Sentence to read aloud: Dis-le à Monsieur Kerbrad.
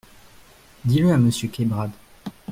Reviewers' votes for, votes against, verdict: 2, 1, accepted